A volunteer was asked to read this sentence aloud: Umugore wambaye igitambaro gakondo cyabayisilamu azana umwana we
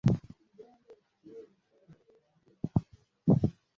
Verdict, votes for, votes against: rejected, 0, 2